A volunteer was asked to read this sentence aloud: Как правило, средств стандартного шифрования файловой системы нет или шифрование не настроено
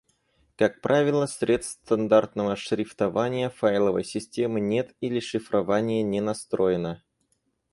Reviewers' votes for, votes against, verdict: 0, 4, rejected